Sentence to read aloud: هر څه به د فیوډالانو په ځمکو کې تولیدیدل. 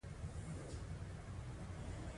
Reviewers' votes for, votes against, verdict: 2, 0, accepted